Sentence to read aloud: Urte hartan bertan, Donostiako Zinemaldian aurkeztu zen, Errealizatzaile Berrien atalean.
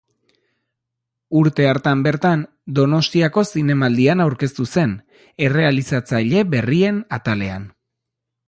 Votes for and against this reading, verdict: 2, 0, accepted